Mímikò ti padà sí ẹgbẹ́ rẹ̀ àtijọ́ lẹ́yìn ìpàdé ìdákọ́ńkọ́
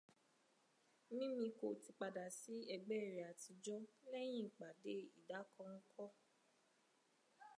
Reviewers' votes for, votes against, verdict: 2, 0, accepted